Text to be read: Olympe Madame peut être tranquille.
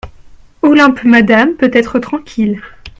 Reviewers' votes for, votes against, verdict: 2, 0, accepted